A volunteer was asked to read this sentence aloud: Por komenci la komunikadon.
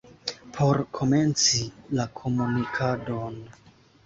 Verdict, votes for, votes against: accepted, 2, 0